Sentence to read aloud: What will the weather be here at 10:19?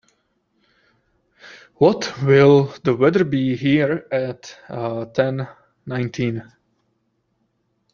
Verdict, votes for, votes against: rejected, 0, 2